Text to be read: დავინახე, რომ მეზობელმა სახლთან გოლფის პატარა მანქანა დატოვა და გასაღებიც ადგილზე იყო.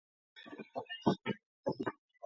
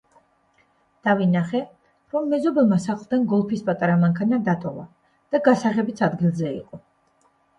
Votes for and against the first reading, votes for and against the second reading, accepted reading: 0, 2, 2, 0, second